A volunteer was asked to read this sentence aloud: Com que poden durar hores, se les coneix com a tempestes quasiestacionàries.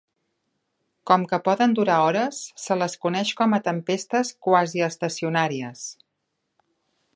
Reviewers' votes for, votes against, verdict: 2, 0, accepted